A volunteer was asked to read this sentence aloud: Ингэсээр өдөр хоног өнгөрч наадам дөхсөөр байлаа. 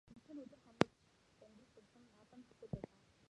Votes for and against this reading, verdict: 1, 2, rejected